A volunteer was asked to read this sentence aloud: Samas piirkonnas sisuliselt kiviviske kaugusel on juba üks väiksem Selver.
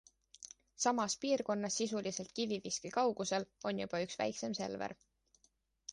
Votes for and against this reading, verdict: 2, 0, accepted